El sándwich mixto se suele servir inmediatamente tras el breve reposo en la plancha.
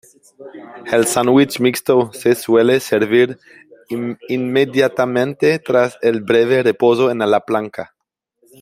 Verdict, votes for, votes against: rejected, 0, 2